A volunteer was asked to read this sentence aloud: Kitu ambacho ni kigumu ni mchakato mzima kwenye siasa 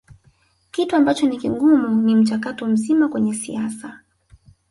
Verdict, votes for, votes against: rejected, 1, 2